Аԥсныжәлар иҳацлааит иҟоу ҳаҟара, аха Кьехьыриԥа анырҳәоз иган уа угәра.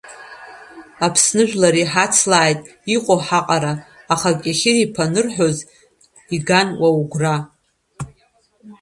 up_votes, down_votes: 2, 1